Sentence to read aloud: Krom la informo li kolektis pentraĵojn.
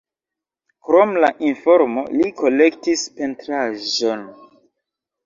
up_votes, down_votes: 0, 2